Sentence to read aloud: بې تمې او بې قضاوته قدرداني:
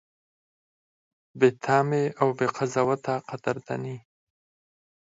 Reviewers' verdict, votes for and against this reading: accepted, 4, 0